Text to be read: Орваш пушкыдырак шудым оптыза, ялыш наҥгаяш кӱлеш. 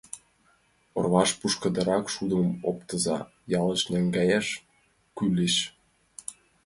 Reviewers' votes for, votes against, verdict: 2, 1, accepted